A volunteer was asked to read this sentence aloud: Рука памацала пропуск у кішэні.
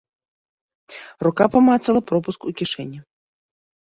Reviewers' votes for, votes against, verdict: 2, 0, accepted